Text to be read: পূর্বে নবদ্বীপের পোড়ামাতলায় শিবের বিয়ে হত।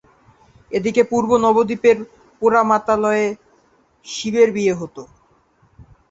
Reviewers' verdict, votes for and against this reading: rejected, 0, 2